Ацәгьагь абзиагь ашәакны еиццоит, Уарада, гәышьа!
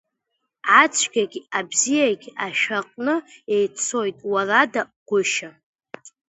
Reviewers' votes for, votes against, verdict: 3, 0, accepted